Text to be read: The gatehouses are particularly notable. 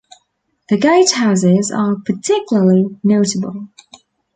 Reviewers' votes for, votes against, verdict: 3, 0, accepted